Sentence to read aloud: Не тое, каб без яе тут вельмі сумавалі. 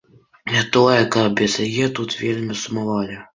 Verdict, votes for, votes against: accepted, 2, 0